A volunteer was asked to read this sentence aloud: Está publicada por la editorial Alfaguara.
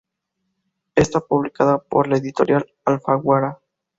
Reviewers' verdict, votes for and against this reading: accepted, 2, 0